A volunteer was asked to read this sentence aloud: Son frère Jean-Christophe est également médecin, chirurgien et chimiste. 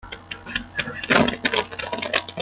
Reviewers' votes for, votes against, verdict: 0, 2, rejected